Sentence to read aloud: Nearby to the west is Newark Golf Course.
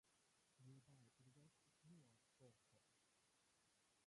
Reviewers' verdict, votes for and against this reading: rejected, 0, 2